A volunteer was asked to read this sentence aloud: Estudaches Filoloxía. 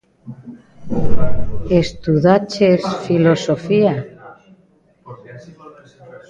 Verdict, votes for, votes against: rejected, 1, 2